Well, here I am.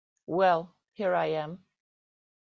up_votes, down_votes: 2, 0